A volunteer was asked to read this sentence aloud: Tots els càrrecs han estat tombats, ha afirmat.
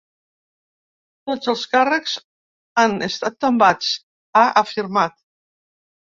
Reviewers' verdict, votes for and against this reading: accepted, 3, 0